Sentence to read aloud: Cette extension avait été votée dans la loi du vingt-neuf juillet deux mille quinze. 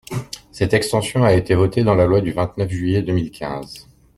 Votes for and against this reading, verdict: 0, 2, rejected